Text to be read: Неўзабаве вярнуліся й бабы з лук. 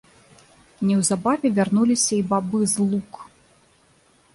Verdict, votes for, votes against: rejected, 1, 2